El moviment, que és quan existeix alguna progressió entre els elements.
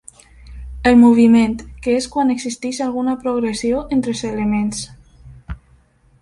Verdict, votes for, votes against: accepted, 2, 0